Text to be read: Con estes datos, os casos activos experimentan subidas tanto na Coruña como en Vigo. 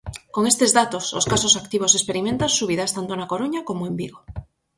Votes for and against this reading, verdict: 4, 0, accepted